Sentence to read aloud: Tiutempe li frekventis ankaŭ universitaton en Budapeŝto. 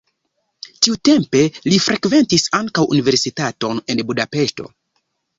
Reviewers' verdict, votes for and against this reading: accepted, 2, 0